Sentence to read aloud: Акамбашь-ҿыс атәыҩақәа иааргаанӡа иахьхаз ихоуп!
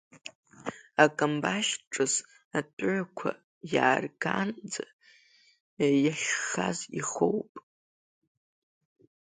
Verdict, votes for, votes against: rejected, 1, 2